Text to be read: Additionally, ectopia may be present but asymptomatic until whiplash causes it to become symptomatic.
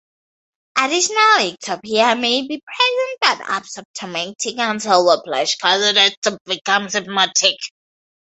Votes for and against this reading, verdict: 0, 2, rejected